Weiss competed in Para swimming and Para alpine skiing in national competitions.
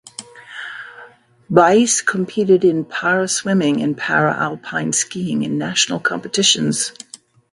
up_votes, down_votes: 2, 0